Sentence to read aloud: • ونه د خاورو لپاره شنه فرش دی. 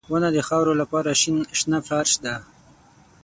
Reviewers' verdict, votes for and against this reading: rejected, 3, 6